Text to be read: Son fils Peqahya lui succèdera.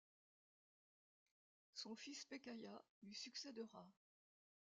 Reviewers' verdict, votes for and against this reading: rejected, 0, 2